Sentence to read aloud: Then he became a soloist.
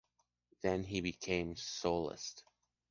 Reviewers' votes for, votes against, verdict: 2, 0, accepted